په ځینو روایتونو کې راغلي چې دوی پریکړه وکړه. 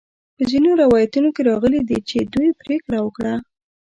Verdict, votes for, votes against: rejected, 1, 2